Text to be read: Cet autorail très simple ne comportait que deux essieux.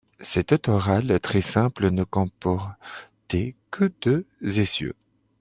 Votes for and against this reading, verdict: 0, 2, rejected